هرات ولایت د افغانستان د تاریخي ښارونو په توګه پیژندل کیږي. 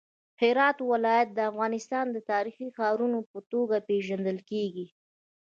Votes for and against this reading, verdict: 1, 2, rejected